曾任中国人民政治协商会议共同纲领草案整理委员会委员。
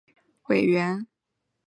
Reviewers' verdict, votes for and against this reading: rejected, 0, 3